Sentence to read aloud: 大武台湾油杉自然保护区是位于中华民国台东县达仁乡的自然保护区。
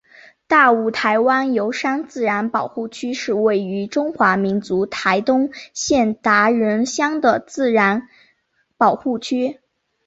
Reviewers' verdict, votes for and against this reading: accepted, 3, 0